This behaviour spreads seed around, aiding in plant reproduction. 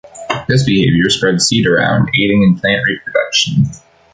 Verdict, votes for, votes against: accepted, 3, 1